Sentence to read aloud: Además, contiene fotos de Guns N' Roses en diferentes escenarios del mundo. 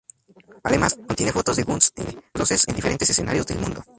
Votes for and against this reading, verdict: 0, 2, rejected